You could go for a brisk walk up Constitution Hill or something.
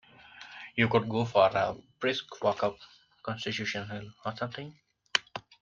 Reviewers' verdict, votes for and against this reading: accepted, 2, 0